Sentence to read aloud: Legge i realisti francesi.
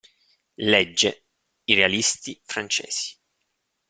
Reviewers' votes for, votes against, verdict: 2, 0, accepted